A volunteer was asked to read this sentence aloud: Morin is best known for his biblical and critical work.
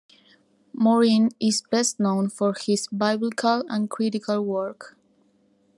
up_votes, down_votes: 2, 1